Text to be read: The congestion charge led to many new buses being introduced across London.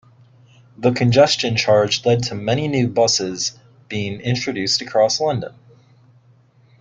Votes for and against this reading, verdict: 2, 0, accepted